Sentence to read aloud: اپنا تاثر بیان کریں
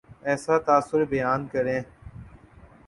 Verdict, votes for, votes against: accepted, 4, 2